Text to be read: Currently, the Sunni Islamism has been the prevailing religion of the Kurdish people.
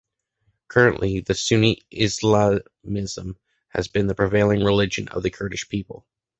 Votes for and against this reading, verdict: 1, 2, rejected